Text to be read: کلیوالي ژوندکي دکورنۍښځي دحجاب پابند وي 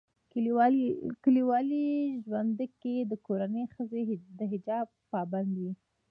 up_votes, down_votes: 2, 0